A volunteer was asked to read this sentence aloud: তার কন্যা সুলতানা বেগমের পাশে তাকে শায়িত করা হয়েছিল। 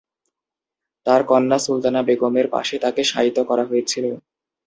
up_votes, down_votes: 2, 0